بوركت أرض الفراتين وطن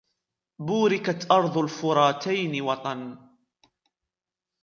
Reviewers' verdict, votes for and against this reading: accepted, 2, 0